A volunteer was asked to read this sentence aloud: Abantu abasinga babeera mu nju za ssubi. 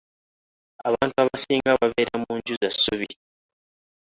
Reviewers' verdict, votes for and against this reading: rejected, 1, 3